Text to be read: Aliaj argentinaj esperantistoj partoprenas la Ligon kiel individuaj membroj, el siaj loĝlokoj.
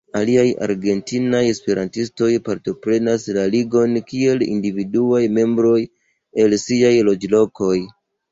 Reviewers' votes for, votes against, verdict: 2, 0, accepted